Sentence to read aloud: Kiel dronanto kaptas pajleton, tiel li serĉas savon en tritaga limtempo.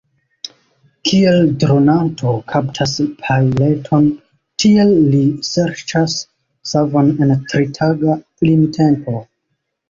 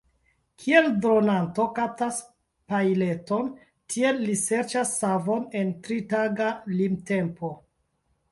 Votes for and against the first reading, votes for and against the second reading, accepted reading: 2, 0, 0, 2, first